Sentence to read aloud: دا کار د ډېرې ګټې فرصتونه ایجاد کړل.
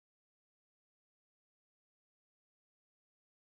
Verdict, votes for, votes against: rejected, 1, 2